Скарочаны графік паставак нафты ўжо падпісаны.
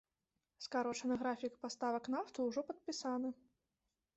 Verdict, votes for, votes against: accepted, 2, 0